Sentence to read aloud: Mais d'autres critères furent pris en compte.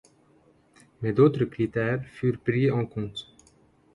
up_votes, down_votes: 2, 0